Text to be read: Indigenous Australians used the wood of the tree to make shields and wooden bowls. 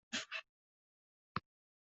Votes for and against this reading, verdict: 1, 2, rejected